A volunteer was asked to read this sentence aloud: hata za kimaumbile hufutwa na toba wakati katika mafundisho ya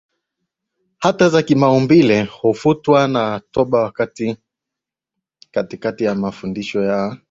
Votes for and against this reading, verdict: 2, 0, accepted